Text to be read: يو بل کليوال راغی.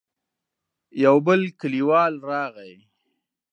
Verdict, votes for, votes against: accepted, 3, 0